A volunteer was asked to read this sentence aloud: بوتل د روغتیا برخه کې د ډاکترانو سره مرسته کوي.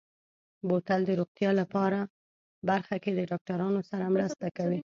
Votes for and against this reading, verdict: 1, 2, rejected